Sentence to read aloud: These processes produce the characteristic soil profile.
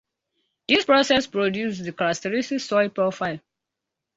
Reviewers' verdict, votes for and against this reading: accepted, 2, 0